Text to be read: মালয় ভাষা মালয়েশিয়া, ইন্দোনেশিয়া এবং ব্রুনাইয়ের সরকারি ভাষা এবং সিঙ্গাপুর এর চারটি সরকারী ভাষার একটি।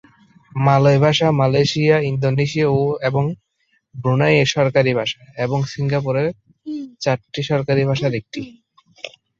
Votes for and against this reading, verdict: 1, 2, rejected